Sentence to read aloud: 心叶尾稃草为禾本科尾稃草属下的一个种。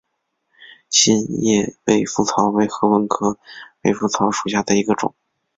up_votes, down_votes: 7, 3